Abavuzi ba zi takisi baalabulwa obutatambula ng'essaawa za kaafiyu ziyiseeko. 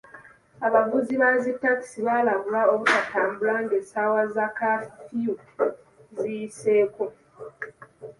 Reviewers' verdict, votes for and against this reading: accepted, 2, 0